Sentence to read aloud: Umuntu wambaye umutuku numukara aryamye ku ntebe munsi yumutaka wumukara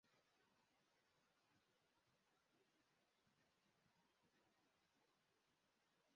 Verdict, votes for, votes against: rejected, 0, 2